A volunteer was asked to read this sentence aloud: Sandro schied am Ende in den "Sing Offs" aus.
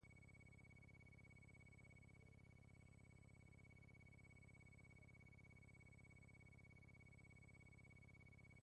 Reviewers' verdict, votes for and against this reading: rejected, 0, 2